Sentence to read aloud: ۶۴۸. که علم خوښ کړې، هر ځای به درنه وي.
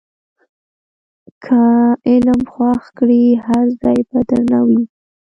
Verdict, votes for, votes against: rejected, 0, 2